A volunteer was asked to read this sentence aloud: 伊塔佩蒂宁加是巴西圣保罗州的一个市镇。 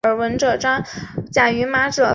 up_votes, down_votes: 2, 2